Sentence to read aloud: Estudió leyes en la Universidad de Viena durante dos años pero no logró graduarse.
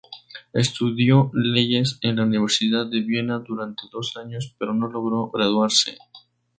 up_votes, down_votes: 6, 0